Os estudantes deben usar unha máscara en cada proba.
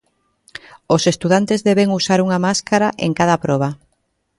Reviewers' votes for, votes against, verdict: 3, 0, accepted